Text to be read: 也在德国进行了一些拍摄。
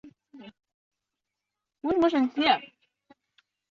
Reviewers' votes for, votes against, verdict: 1, 2, rejected